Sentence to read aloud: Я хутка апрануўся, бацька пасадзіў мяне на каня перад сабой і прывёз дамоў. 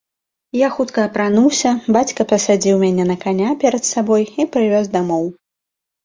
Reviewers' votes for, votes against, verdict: 2, 0, accepted